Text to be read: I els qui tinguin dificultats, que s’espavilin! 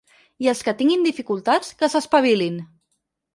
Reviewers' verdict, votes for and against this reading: accepted, 4, 2